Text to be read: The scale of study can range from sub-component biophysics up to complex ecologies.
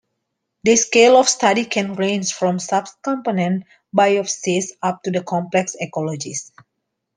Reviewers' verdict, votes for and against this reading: rejected, 1, 2